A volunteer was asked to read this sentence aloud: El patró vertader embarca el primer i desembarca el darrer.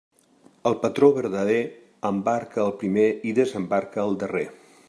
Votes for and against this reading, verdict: 0, 2, rejected